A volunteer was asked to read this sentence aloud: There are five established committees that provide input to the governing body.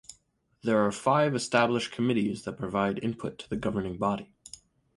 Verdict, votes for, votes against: accepted, 4, 0